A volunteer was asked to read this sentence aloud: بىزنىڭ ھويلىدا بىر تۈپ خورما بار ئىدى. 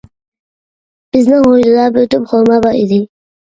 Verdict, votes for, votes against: rejected, 0, 2